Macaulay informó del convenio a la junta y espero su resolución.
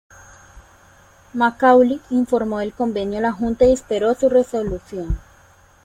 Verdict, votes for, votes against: accepted, 2, 0